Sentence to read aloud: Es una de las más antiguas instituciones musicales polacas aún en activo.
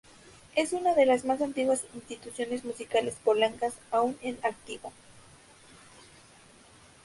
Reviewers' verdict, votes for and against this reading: rejected, 0, 2